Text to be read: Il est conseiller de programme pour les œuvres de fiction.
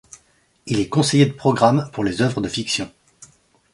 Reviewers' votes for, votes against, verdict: 2, 0, accepted